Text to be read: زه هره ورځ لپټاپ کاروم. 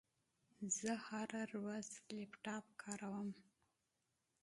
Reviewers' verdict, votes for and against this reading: accepted, 2, 0